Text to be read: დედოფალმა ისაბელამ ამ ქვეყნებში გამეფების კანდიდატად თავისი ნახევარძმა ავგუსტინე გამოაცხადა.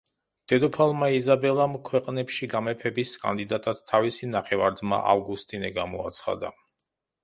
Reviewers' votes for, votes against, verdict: 1, 2, rejected